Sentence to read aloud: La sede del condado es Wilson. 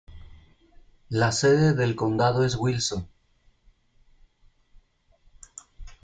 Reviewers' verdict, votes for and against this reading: accepted, 2, 0